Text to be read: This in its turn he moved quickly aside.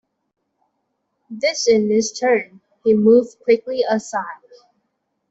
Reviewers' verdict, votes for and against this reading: accepted, 2, 0